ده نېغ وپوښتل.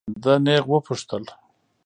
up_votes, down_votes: 2, 0